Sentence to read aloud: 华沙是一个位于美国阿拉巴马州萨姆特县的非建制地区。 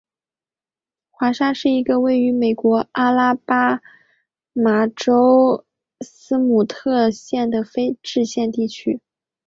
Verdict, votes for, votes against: accepted, 3, 0